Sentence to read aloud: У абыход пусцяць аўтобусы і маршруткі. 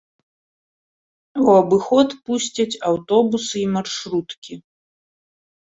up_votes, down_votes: 2, 0